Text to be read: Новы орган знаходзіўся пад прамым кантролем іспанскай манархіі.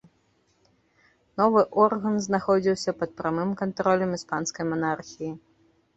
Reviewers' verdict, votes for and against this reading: accepted, 2, 0